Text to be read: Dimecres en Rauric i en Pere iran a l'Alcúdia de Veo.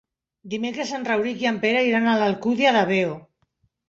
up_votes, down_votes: 2, 0